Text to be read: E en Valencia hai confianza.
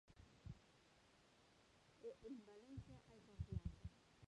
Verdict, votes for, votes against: rejected, 0, 6